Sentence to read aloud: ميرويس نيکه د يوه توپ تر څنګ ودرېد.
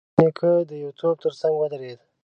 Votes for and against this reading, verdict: 1, 2, rejected